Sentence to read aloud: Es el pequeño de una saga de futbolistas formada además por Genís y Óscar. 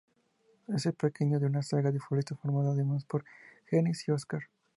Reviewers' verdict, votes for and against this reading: accepted, 2, 0